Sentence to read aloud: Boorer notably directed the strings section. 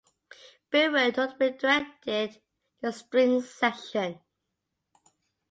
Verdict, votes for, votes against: rejected, 0, 5